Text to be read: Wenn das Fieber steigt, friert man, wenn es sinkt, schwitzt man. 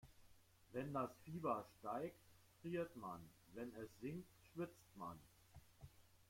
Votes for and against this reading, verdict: 1, 2, rejected